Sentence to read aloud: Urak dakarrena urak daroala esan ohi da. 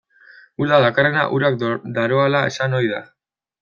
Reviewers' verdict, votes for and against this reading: rejected, 1, 2